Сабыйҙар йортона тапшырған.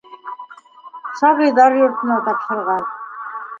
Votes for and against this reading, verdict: 1, 2, rejected